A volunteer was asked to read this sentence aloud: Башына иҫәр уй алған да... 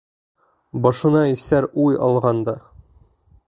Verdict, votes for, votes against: rejected, 0, 2